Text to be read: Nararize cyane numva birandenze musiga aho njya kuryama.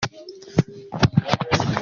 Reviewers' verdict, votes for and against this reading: rejected, 0, 2